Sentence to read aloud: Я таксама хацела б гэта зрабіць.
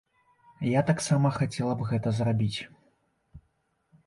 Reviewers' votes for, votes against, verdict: 2, 0, accepted